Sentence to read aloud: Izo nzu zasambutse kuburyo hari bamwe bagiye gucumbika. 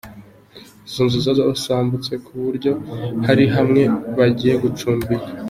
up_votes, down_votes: 0, 2